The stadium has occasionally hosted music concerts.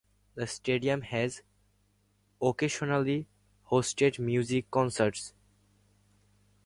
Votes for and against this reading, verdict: 0, 2, rejected